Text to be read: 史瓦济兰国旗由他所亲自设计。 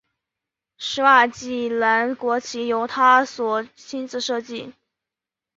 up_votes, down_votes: 2, 0